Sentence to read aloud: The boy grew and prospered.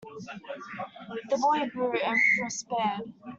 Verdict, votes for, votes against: rejected, 0, 2